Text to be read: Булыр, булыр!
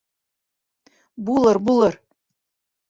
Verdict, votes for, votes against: rejected, 1, 2